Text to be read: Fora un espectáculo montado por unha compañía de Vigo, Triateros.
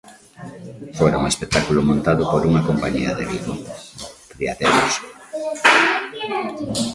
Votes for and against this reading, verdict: 0, 2, rejected